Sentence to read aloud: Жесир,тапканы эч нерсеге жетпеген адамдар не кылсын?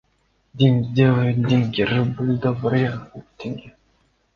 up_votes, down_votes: 0, 2